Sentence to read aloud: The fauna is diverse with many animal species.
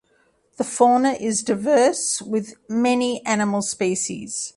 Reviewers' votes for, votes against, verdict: 2, 0, accepted